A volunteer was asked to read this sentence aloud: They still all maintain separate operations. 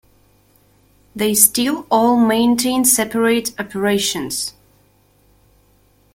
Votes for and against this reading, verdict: 2, 1, accepted